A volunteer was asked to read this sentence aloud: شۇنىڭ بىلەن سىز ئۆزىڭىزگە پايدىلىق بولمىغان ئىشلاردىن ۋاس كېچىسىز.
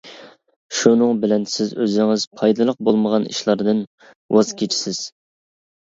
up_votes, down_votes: 0, 2